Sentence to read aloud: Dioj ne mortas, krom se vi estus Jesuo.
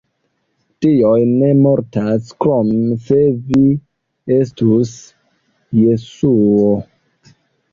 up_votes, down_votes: 2, 0